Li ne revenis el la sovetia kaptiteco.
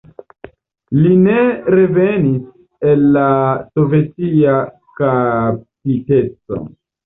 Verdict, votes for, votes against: rejected, 0, 2